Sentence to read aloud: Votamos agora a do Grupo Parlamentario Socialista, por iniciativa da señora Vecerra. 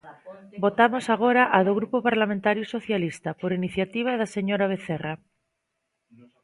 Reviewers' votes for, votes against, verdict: 2, 0, accepted